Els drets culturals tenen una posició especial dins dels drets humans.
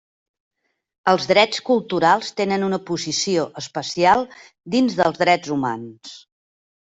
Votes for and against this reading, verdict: 3, 0, accepted